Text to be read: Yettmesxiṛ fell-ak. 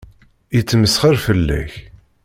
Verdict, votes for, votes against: accepted, 2, 0